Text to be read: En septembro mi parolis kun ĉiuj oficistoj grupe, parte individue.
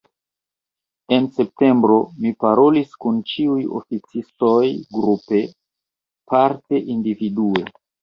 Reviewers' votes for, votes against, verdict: 2, 0, accepted